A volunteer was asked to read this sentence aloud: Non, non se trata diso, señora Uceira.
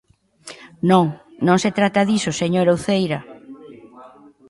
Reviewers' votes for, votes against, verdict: 2, 0, accepted